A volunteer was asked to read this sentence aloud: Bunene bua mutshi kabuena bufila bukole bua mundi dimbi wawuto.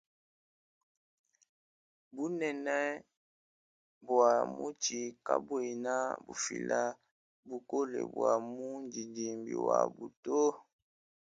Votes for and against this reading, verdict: 2, 0, accepted